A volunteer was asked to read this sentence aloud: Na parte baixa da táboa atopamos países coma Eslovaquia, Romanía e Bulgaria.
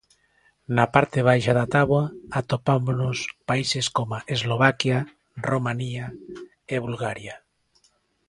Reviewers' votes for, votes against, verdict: 0, 3, rejected